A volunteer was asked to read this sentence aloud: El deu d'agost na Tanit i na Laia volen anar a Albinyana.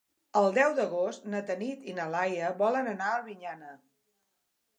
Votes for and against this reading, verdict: 2, 0, accepted